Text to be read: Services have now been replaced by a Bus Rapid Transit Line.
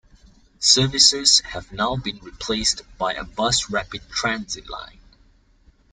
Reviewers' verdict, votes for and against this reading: accepted, 2, 0